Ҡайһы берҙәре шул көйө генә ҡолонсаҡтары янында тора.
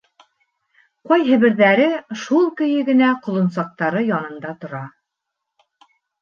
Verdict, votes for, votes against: accepted, 2, 0